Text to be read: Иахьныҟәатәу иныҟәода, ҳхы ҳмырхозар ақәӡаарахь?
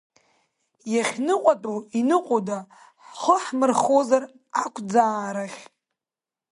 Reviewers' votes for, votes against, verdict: 2, 0, accepted